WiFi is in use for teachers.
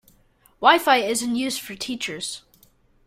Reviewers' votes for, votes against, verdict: 2, 0, accepted